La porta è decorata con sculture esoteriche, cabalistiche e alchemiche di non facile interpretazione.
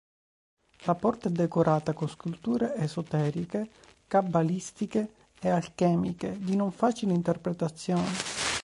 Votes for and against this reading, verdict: 3, 1, accepted